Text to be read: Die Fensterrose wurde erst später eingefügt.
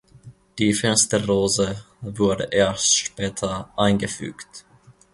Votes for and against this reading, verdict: 1, 2, rejected